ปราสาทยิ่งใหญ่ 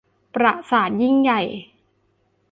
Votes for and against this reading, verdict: 0, 2, rejected